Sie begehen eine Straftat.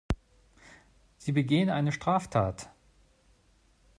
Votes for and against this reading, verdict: 2, 0, accepted